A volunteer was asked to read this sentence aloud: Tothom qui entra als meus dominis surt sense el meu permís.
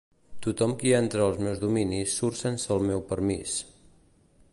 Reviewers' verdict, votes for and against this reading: accepted, 2, 0